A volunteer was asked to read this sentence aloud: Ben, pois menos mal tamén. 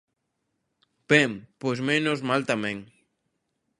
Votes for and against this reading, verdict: 2, 0, accepted